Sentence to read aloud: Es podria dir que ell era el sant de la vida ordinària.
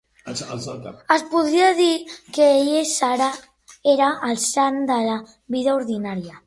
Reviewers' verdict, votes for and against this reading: rejected, 0, 2